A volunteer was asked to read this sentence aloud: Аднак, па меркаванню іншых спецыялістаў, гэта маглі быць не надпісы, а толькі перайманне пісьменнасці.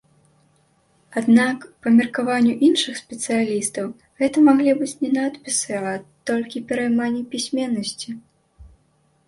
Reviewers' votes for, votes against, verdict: 2, 0, accepted